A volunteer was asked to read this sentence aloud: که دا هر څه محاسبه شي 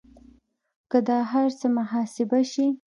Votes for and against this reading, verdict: 2, 0, accepted